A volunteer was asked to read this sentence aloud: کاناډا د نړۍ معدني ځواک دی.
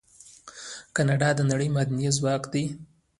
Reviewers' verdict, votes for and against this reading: rejected, 1, 2